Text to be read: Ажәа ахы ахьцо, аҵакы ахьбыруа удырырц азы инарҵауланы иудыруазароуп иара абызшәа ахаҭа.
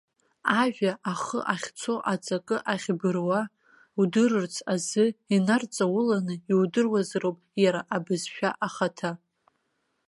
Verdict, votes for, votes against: accepted, 2, 0